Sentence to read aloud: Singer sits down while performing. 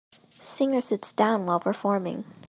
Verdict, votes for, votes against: accepted, 2, 0